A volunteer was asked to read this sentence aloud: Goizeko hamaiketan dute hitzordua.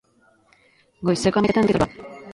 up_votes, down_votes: 1, 2